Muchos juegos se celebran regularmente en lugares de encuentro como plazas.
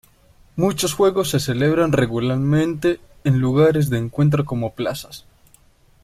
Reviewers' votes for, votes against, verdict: 2, 0, accepted